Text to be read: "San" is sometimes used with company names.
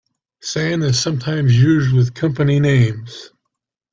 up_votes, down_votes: 2, 1